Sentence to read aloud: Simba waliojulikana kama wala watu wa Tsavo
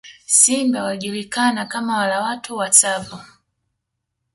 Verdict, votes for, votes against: accepted, 2, 1